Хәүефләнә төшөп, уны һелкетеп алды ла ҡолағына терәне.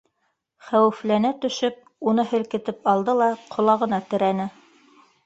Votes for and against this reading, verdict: 1, 2, rejected